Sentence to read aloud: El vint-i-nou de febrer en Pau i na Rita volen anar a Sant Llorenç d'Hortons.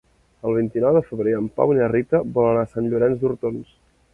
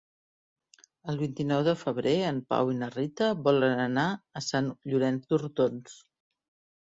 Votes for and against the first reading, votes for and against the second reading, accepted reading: 3, 0, 0, 2, first